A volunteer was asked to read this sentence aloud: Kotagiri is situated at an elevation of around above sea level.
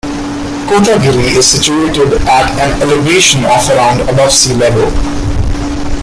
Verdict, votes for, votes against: rejected, 0, 2